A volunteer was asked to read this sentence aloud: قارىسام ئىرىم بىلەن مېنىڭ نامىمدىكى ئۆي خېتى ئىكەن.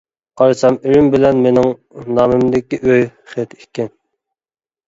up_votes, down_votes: 2, 1